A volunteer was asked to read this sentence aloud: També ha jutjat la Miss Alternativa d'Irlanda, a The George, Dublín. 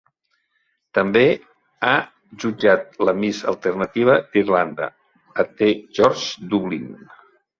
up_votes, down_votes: 0, 2